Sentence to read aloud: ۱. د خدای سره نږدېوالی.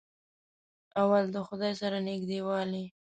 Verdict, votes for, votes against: rejected, 0, 2